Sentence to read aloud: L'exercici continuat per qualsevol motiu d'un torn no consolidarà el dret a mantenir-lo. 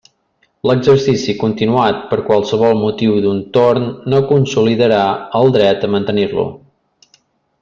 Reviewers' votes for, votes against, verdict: 3, 0, accepted